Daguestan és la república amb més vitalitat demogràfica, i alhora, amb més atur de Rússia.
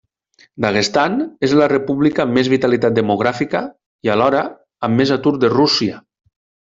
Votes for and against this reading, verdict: 2, 0, accepted